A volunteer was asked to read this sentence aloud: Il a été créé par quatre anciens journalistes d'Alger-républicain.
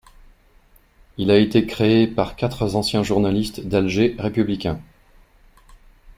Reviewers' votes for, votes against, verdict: 0, 2, rejected